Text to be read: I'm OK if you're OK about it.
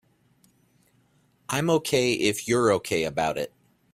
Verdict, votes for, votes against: accepted, 2, 0